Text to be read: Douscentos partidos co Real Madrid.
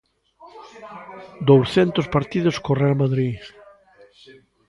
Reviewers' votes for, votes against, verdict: 1, 2, rejected